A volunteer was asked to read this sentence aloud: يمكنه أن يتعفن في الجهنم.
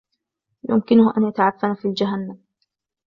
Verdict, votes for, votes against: accepted, 2, 0